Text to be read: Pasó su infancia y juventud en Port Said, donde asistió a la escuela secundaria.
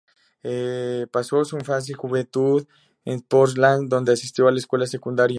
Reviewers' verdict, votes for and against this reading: rejected, 0, 2